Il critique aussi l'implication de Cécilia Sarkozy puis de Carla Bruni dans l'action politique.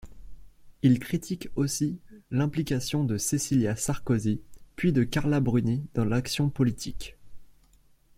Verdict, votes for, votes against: accepted, 2, 0